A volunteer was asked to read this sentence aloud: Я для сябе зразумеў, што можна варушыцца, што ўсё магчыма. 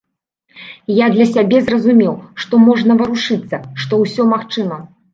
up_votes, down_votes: 2, 0